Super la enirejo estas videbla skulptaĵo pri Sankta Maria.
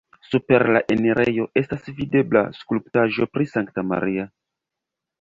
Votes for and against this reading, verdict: 1, 2, rejected